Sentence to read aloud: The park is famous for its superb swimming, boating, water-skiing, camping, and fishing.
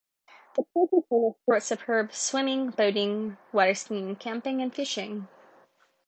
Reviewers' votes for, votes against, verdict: 1, 2, rejected